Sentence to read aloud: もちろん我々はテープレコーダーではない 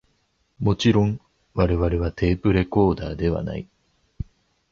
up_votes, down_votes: 2, 0